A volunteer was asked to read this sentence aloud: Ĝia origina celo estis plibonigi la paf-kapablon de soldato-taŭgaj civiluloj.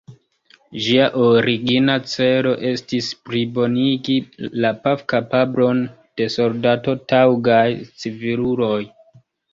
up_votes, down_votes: 0, 2